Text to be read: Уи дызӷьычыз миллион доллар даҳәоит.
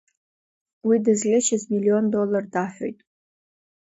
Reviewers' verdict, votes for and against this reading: accepted, 2, 0